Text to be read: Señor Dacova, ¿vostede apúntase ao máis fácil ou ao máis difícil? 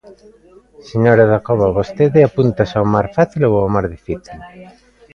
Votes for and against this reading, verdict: 0, 2, rejected